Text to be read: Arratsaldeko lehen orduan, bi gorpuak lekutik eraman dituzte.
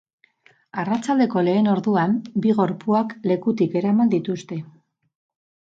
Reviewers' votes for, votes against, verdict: 2, 2, rejected